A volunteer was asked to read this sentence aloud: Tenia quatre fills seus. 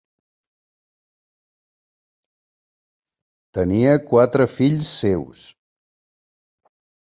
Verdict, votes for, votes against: accepted, 5, 0